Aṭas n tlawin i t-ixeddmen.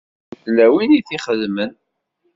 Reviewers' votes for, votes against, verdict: 0, 2, rejected